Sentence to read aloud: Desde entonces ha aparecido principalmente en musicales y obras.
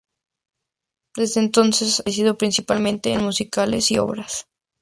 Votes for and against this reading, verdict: 0, 2, rejected